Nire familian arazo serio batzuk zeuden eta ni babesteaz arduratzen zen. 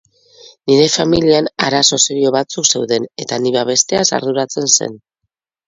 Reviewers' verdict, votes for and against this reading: accepted, 4, 0